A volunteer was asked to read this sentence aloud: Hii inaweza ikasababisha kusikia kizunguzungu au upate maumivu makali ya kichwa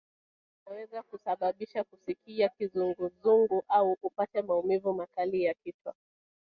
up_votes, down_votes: 2, 3